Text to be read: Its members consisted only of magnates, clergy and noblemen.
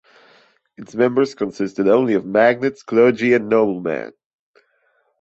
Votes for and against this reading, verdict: 2, 0, accepted